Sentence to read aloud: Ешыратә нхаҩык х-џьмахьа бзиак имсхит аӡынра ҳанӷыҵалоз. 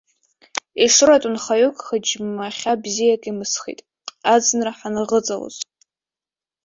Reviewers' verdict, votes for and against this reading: rejected, 1, 2